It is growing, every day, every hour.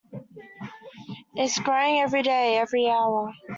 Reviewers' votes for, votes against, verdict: 0, 2, rejected